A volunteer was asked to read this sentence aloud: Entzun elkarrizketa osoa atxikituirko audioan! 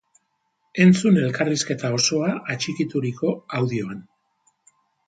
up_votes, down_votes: 2, 0